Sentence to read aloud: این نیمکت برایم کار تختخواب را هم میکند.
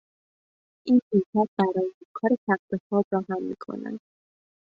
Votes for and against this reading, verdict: 1, 2, rejected